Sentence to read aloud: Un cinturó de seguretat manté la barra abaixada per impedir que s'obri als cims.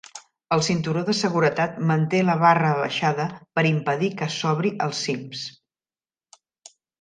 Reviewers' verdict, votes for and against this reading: rejected, 0, 2